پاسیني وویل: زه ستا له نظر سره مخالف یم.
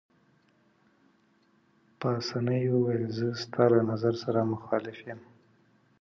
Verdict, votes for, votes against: accepted, 2, 1